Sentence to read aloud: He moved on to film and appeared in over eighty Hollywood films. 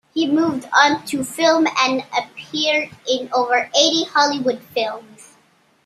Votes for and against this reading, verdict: 2, 1, accepted